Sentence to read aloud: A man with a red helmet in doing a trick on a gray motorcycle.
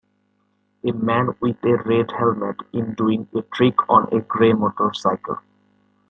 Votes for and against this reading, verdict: 2, 0, accepted